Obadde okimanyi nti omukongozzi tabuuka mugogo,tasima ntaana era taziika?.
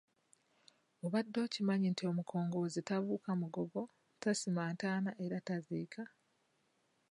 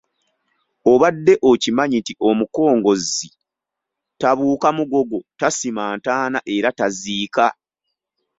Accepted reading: second